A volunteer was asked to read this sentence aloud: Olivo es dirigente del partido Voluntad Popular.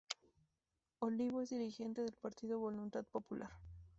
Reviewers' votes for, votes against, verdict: 0, 2, rejected